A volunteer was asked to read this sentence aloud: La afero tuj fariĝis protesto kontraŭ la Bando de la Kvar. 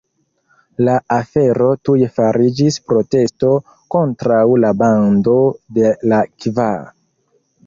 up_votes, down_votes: 2, 0